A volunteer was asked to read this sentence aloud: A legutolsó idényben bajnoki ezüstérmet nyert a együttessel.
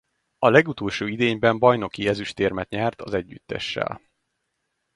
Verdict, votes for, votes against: rejected, 0, 2